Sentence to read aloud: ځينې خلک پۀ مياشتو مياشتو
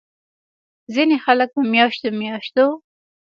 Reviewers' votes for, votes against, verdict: 2, 0, accepted